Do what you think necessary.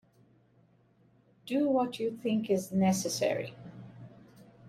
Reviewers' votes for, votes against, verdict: 1, 2, rejected